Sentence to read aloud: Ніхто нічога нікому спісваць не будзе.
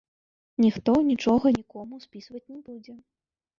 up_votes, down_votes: 2, 3